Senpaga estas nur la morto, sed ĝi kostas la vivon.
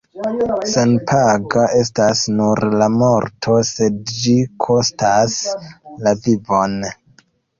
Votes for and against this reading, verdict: 2, 1, accepted